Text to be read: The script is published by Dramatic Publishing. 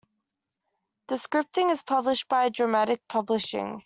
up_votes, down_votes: 1, 2